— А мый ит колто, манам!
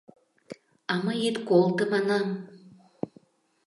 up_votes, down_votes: 2, 0